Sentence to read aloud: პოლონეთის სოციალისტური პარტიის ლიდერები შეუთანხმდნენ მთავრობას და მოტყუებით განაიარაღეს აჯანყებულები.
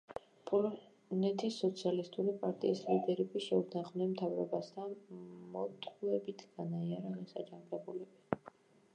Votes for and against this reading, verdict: 0, 2, rejected